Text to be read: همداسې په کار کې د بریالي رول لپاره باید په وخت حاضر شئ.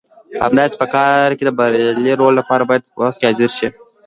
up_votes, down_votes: 2, 0